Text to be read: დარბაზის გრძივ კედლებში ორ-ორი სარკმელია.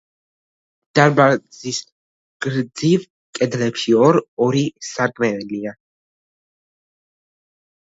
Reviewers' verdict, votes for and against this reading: rejected, 1, 2